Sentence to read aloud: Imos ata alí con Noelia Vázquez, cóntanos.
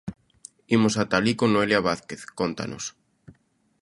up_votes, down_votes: 2, 0